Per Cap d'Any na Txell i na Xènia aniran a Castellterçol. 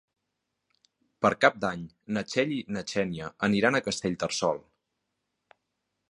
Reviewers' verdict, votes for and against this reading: accepted, 3, 0